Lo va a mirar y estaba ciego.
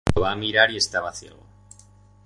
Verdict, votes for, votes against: rejected, 2, 4